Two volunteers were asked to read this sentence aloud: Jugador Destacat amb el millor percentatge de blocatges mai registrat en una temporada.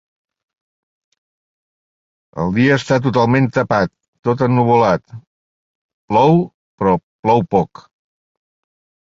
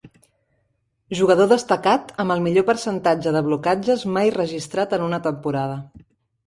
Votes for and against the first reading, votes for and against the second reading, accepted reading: 0, 2, 3, 0, second